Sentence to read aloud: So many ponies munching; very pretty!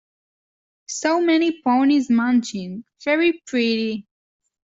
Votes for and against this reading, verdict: 2, 0, accepted